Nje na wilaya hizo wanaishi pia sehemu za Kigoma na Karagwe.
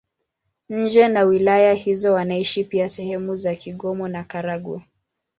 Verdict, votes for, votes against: accepted, 2, 0